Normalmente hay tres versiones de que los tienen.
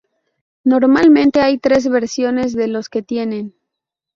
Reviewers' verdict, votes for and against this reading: rejected, 2, 2